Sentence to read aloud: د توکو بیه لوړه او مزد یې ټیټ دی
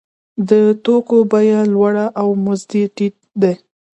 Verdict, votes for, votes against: accepted, 2, 0